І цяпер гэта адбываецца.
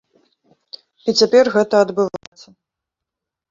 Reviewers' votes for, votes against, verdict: 0, 2, rejected